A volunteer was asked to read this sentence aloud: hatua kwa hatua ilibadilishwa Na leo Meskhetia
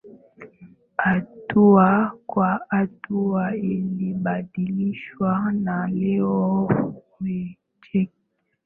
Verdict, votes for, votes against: accepted, 2, 1